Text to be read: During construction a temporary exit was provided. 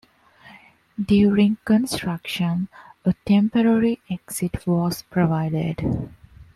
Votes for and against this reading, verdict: 2, 0, accepted